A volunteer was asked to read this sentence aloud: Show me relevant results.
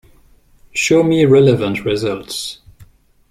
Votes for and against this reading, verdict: 2, 0, accepted